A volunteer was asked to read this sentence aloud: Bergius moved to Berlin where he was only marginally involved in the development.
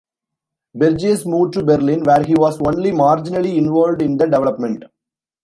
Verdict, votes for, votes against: rejected, 0, 2